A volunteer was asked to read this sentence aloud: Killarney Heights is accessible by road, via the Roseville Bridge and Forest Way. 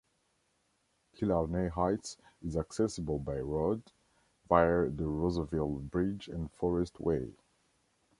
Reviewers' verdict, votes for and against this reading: rejected, 0, 2